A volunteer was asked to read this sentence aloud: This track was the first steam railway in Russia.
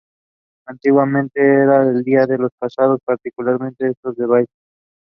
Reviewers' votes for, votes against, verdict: 0, 2, rejected